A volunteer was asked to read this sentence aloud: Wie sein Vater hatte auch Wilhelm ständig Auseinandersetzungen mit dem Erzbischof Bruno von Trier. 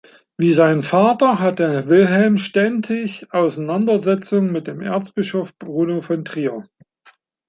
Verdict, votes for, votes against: rejected, 1, 3